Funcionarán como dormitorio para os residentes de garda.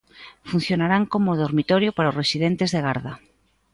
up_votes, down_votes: 2, 0